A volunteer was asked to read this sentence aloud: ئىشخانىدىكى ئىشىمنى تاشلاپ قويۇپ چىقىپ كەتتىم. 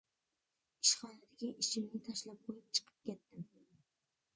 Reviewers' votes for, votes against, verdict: 2, 0, accepted